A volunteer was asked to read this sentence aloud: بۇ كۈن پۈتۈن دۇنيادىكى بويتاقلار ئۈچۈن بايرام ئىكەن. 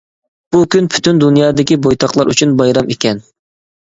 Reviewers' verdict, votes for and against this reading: accepted, 2, 0